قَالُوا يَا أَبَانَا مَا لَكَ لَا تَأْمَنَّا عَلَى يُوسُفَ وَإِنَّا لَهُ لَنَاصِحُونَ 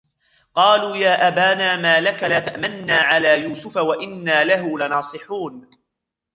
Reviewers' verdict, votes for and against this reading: rejected, 0, 2